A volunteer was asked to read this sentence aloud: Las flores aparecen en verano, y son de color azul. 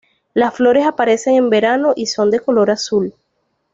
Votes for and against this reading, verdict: 2, 0, accepted